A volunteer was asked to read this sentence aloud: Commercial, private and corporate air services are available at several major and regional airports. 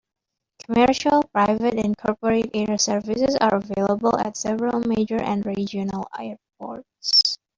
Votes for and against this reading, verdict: 1, 2, rejected